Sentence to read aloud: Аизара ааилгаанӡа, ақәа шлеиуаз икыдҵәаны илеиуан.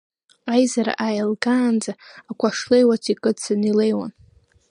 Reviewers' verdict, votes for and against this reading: rejected, 1, 2